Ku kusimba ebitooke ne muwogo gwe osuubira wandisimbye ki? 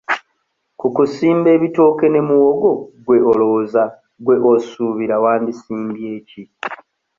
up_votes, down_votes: 1, 2